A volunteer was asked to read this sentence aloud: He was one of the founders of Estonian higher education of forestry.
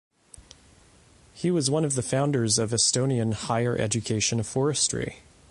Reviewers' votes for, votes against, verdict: 2, 0, accepted